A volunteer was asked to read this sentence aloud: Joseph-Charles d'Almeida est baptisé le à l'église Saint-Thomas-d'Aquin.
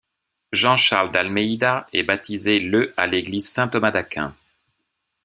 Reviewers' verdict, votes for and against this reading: rejected, 0, 2